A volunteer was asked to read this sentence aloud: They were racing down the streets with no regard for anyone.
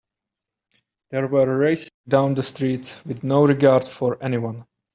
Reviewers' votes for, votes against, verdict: 1, 2, rejected